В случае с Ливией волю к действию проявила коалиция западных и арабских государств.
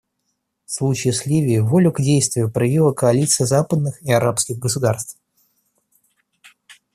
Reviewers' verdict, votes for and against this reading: accepted, 2, 0